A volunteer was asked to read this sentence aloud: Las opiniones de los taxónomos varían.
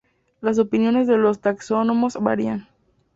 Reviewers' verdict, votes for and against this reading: accepted, 2, 0